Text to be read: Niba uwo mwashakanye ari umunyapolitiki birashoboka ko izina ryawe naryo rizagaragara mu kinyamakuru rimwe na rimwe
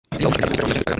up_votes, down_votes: 1, 2